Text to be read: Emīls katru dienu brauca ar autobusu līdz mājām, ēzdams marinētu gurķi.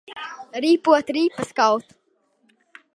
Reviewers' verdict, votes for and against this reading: rejected, 0, 2